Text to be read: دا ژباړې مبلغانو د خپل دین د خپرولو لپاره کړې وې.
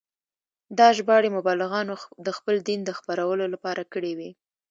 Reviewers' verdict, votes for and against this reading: accepted, 2, 0